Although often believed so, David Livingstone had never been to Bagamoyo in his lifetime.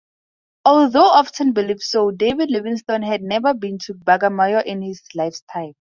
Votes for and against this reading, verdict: 0, 2, rejected